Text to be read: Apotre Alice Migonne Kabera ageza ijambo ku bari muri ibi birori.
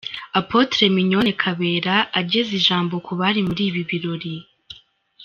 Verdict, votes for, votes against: accepted, 2, 1